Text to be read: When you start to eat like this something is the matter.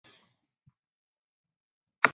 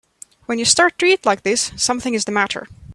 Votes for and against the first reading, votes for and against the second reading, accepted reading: 0, 2, 3, 0, second